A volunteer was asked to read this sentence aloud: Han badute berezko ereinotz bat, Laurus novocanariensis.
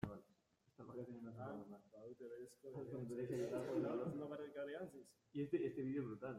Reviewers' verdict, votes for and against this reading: rejected, 0, 2